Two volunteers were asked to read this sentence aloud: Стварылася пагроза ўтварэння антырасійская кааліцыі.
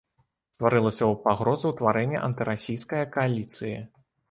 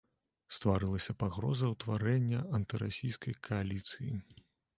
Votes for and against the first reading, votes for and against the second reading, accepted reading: 2, 0, 1, 2, first